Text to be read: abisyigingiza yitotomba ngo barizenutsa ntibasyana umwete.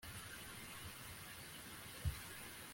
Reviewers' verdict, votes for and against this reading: rejected, 0, 2